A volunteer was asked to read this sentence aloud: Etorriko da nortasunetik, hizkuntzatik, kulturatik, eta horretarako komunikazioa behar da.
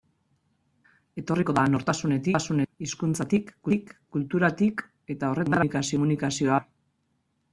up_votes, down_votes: 0, 2